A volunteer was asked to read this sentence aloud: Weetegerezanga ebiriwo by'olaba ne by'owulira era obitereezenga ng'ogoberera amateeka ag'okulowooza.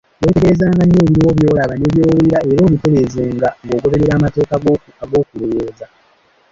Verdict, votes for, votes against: rejected, 1, 2